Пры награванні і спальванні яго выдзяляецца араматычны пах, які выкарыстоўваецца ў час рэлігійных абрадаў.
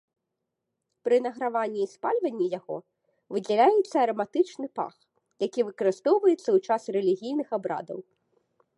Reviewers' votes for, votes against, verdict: 3, 0, accepted